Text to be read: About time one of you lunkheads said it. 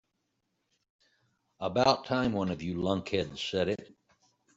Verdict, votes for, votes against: accepted, 2, 1